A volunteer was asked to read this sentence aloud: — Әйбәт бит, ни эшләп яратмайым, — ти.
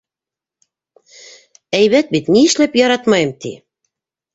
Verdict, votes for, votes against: accepted, 2, 0